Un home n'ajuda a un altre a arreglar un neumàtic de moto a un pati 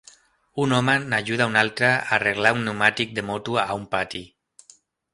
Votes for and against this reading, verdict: 2, 0, accepted